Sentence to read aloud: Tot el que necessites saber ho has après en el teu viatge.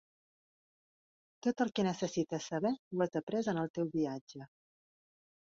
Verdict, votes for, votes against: accepted, 2, 0